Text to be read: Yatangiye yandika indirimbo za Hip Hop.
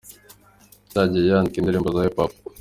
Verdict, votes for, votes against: accepted, 2, 1